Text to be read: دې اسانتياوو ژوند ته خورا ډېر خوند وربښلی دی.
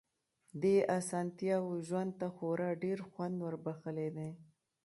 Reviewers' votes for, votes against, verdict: 1, 2, rejected